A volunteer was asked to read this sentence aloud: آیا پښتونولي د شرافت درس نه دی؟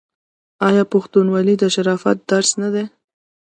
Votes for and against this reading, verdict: 2, 1, accepted